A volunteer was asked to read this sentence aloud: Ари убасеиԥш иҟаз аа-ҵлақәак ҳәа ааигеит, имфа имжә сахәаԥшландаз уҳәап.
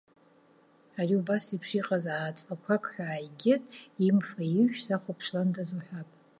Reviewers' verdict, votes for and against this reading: rejected, 1, 2